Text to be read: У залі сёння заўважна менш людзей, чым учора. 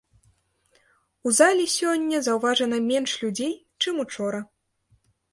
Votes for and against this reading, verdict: 0, 2, rejected